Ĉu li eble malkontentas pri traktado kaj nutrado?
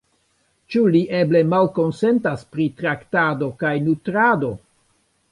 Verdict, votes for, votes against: rejected, 1, 2